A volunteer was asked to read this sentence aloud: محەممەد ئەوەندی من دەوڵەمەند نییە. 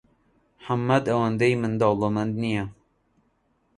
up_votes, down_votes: 2, 0